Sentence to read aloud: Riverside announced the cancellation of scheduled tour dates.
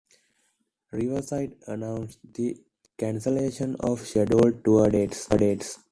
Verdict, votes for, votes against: rejected, 0, 2